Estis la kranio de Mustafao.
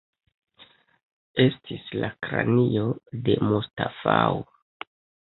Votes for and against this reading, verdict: 2, 0, accepted